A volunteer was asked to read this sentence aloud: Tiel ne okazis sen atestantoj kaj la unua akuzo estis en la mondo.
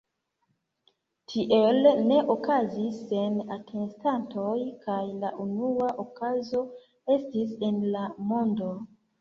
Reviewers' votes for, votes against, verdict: 2, 1, accepted